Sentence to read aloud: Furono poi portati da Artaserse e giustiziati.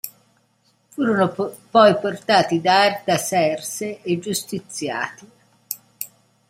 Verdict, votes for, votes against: rejected, 0, 2